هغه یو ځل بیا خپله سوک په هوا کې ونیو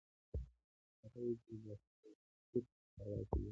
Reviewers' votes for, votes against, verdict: 1, 2, rejected